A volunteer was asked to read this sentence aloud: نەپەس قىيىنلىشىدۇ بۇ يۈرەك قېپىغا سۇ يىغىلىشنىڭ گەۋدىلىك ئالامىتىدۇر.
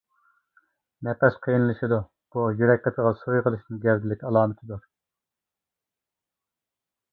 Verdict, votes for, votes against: rejected, 0, 3